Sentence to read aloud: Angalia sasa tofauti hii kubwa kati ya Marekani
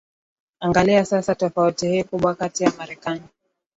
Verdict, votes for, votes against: accepted, 10, 0